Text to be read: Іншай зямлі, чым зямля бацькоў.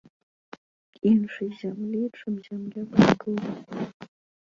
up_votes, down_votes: 1, 2